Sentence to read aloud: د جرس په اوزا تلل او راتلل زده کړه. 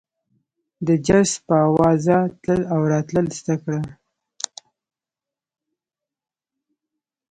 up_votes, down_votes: 0, 2